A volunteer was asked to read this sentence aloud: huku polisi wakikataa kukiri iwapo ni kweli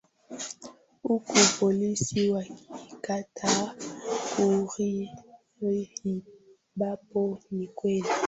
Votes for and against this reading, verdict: 0, 2, rejected